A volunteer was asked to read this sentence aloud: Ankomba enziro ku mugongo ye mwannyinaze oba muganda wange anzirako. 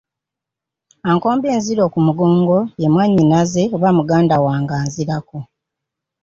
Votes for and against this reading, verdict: 3, 1, accepted